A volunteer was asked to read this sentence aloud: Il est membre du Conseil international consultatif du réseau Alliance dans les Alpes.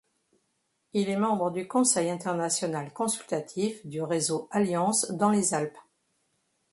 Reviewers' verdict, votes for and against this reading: accepted, 2, 0